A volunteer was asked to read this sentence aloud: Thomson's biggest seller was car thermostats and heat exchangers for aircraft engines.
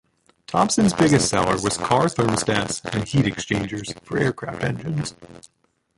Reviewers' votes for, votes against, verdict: 0, 3, rejected